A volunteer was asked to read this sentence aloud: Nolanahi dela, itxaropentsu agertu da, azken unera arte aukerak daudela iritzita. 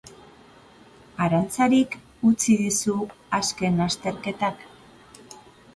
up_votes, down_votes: 0, 2